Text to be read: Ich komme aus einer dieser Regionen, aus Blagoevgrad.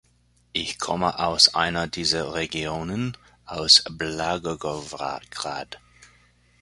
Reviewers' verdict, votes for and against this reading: rejected, 1, 3